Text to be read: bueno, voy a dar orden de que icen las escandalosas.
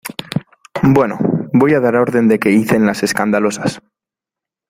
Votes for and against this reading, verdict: 2, 0, accepted